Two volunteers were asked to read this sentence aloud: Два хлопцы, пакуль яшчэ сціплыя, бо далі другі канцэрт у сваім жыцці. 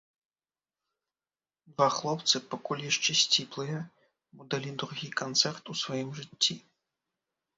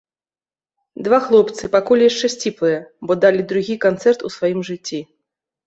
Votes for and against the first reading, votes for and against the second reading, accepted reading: 0, 3, 2, 0, second